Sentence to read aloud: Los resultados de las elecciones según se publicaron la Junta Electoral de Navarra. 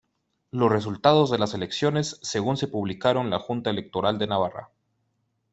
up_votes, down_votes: 2, 1